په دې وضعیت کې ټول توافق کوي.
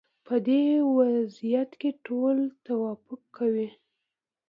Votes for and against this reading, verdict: 2, 0, accepted